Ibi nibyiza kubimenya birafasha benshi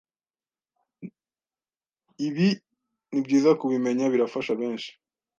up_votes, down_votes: 2, 0